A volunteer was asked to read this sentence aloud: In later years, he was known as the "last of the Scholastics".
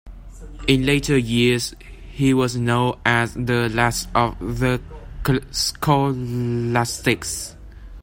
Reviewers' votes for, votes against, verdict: 0, 2, rejected